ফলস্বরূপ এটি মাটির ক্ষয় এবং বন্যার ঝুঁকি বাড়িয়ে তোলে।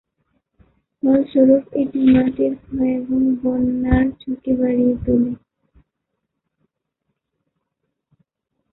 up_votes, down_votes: 1, 2